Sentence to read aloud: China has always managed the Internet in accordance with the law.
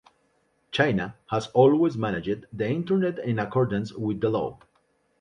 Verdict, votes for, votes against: accepted, 2, 0